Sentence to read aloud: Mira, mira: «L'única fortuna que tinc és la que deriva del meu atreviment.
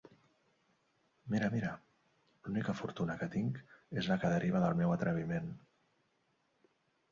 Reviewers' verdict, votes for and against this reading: accepted, 3, 0